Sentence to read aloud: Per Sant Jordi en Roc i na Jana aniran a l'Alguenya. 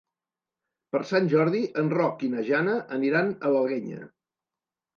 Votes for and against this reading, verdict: 1, 2, rejected